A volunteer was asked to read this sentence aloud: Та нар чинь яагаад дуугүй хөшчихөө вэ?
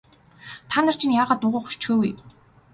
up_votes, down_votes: 2, 0